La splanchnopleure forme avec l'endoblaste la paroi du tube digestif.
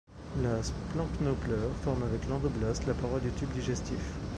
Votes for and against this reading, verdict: 2, 0, accepted